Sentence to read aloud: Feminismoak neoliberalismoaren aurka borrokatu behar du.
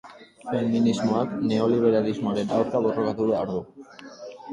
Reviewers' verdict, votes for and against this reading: accepted, 2, 0